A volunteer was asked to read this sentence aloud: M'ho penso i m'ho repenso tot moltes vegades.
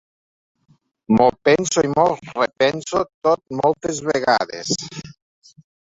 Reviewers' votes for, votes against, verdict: 2, 1, accepted